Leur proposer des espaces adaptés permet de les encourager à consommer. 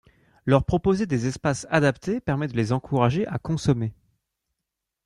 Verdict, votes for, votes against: accepted, 2, 0